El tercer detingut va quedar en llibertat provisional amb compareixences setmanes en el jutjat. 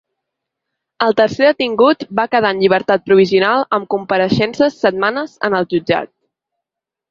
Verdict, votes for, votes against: accepted, 3, 0